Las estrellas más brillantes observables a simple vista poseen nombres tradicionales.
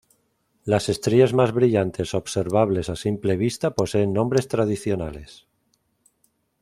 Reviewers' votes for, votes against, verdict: 2, 0, accepted